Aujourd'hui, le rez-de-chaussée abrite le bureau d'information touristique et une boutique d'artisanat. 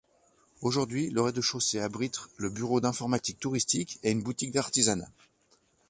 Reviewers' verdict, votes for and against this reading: rejected, 0, 2